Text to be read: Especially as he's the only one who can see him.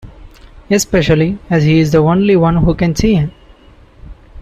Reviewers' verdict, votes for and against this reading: accepted, 2, 0